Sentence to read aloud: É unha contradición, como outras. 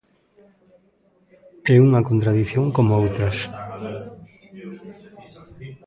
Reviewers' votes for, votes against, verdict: 0, 2, rejected